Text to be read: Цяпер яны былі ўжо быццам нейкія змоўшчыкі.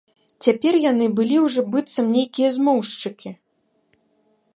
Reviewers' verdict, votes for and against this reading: accepted, 2, 0